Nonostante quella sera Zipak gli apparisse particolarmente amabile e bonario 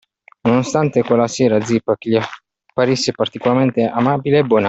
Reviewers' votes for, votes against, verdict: 0, 2, rejected